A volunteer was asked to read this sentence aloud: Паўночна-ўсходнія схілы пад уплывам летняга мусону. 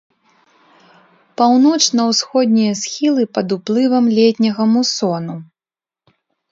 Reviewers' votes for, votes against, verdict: 2, 0, accepted